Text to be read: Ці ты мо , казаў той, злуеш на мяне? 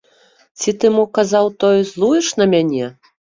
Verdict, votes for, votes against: rejected, 1, 3